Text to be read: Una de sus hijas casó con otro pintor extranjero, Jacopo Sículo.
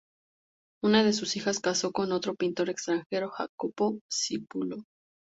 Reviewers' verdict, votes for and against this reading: accepted, 4, 0